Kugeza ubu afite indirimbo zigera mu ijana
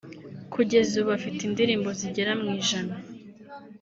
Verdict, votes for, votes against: rejected, 0, 2